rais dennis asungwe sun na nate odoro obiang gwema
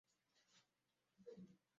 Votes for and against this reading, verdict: 0, 2, rejected